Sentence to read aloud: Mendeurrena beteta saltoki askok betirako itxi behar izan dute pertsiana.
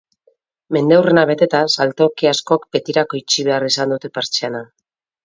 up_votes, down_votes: 4, 0